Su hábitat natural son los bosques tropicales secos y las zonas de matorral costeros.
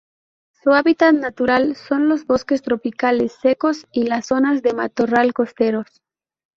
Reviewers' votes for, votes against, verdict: 2, 0, accepted